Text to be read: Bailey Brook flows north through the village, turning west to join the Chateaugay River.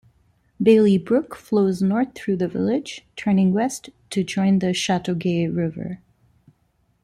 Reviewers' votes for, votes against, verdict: 2, 0, accepted